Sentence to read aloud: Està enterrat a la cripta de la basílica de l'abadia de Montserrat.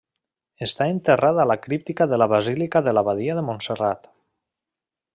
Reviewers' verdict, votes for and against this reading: rejected, 1, 2